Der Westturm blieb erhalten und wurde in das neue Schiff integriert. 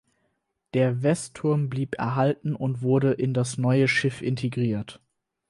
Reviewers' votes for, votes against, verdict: 4, 0, accepted